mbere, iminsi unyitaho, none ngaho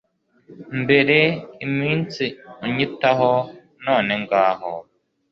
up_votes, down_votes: 2, 0